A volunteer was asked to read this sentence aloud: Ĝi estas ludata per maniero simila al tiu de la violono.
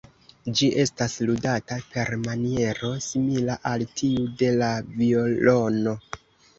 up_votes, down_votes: 3, 0